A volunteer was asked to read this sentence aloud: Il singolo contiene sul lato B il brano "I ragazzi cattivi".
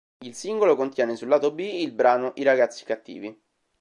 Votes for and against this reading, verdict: 2, 0, accepted